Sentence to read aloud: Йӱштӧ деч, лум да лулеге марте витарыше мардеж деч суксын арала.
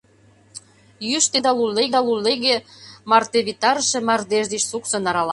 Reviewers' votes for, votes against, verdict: 1, 2, rejected